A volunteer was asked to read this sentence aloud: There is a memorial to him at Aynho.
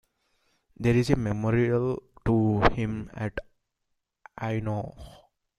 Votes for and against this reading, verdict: 2, 0, accepted